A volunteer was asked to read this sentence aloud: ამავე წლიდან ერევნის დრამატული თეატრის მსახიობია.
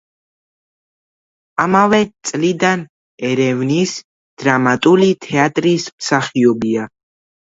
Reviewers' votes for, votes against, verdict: 2, 1, accepted